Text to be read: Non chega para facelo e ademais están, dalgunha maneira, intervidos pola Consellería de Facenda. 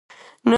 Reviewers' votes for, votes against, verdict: 0, 4, rejected